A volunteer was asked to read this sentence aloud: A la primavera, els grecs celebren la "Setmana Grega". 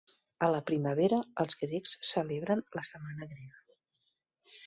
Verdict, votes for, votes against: accepted, 3, 0